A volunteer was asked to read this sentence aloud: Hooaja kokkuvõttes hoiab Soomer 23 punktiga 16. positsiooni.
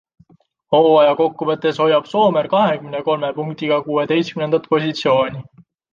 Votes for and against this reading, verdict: 0, 2, rejected